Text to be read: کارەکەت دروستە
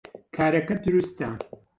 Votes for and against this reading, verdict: 0, 2, rejected